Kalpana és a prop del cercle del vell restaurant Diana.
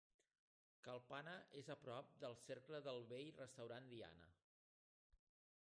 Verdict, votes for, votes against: rejected, 0, 2